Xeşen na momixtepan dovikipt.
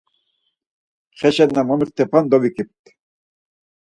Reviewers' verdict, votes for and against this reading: accepted, 4, 0